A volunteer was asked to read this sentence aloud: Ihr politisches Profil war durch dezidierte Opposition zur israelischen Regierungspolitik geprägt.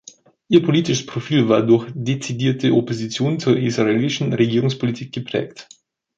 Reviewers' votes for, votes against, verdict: 1, 2, rejected